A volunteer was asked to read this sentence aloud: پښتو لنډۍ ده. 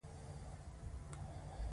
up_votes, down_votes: 1, 2